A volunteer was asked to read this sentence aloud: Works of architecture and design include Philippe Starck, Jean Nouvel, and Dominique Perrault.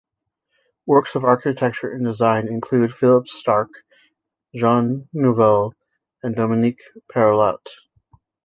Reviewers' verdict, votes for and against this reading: rejected, 1, 2